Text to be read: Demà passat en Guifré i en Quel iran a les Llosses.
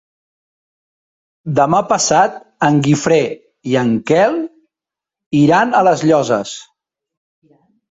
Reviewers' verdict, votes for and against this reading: accepted, 3, 0